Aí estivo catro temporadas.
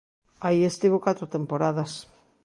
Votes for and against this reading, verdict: 2, 0, accepted